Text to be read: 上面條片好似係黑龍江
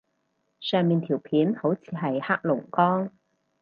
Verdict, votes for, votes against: accepted, 4, 0